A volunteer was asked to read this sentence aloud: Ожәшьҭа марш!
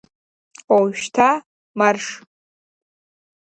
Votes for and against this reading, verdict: 2, 0, accepted